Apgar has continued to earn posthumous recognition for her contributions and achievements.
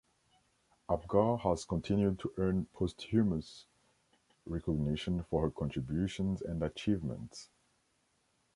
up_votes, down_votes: 3, 0